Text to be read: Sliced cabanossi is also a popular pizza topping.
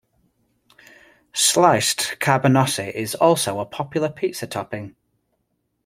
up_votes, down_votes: 2, 0